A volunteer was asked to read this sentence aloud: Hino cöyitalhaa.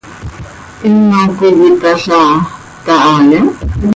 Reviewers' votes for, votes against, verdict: 1, 2, rejected